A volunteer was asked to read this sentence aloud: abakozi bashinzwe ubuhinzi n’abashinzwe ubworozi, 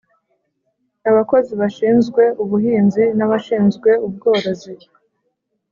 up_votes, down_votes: 3, 0